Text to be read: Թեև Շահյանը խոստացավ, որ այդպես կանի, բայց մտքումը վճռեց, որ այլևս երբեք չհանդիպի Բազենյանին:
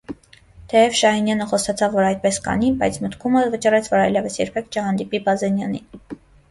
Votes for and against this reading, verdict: 0, 2, rejected